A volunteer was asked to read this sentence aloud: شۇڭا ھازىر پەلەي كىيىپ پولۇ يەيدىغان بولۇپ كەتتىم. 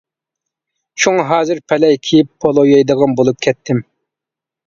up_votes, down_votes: 2, 0